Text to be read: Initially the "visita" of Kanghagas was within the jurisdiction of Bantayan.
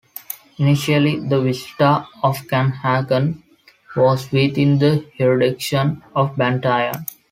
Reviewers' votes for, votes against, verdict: 1, 2, rejected